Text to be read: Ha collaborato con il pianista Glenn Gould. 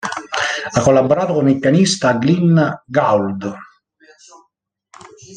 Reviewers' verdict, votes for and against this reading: rejected, 1, 2